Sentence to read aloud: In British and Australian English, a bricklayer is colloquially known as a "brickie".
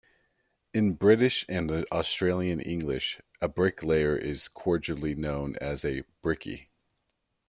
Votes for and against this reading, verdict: 0, 2, rejected